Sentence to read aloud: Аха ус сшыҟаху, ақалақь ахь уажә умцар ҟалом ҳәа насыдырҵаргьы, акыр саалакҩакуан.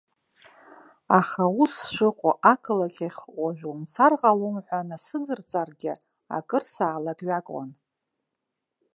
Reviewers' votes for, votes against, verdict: 0, 3, rejected